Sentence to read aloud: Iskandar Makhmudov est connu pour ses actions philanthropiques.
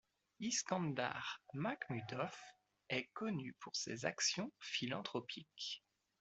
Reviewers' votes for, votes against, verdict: 2, 1, accepted